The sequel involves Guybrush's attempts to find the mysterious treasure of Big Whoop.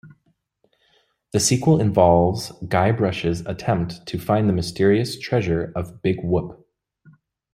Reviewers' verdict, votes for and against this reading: rejected, 1, 2